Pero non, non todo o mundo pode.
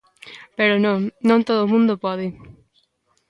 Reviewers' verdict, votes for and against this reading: accepted, 2, 0